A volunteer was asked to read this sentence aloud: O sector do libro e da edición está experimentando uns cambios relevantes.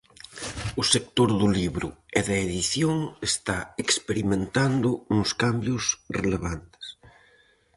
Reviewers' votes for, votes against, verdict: 4, 0, accepted